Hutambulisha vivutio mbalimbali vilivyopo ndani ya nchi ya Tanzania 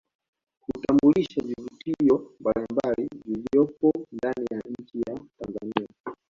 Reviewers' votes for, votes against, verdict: 0, 2, rejected